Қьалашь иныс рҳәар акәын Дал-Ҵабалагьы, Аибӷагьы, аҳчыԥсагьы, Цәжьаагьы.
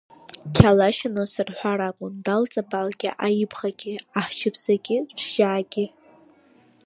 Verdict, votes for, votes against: rejected, 1, 2